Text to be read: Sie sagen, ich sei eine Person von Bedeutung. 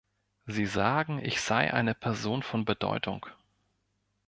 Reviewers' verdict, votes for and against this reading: accepted, 2, 0